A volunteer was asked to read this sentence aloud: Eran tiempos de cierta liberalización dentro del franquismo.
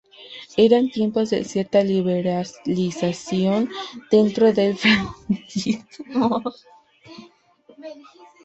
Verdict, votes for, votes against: rejected, 1, 2